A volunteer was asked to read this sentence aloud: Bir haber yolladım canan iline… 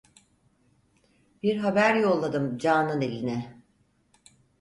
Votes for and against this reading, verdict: 4, 0, accepted